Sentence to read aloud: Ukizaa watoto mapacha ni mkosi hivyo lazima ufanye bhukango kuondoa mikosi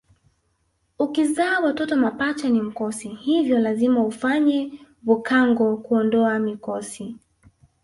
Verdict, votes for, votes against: accepted, 2, 0